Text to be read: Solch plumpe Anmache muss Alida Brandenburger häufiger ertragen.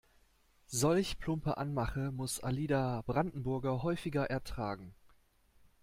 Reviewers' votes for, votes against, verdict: 2, 0, accepted